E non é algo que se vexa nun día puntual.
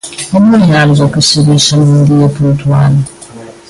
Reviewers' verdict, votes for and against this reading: rejected, 1, 2